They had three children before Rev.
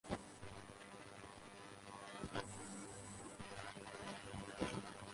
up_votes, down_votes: 0, 4